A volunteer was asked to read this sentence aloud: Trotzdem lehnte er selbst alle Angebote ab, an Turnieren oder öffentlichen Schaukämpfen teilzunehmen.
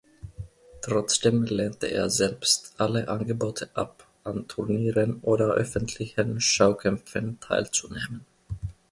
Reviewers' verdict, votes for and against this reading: accepted, 2, 0